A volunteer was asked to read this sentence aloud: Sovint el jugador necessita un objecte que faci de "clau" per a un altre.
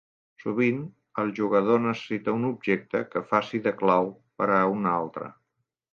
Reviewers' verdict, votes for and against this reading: accepted, 3, 0